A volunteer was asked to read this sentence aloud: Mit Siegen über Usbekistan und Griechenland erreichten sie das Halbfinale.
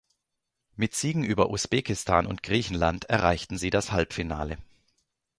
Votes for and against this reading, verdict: 2, 0, accepted